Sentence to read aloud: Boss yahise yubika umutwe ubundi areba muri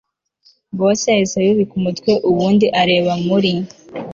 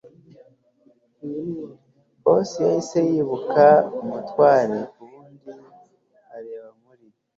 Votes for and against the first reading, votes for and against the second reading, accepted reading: 2, 0, 1, 2, first